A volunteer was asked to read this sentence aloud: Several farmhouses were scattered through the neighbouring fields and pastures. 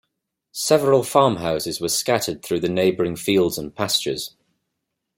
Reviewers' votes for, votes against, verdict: 2, 0, accepted